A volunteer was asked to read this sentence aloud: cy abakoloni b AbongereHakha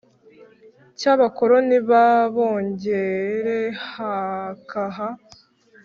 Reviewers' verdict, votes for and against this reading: accepted, 3, 0